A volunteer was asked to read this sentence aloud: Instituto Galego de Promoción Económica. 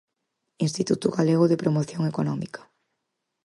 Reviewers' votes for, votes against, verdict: 4, 0, accepted